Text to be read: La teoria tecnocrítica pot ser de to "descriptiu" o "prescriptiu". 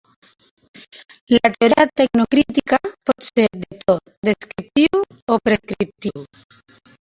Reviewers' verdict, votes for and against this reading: rejected, 0, 2